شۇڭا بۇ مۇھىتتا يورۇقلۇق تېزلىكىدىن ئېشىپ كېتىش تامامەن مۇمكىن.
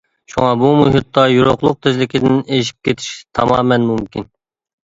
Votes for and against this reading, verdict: 2, 0, accepted